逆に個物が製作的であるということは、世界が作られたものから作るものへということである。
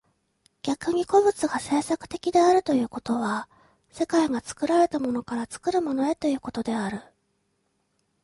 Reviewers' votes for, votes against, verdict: 2, 0, accepted